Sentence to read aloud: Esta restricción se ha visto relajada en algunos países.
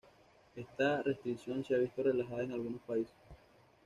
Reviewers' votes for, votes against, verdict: 2, 0, accepted